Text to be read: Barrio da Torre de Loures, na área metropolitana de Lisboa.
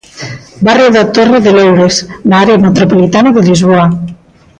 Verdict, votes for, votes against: accepted, 2, 0